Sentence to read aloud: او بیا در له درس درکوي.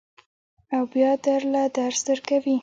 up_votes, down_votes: 2, 0